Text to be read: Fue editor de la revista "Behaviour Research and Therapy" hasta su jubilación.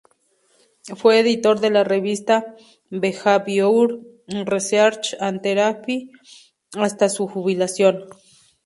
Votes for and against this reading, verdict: 2, 0, accepted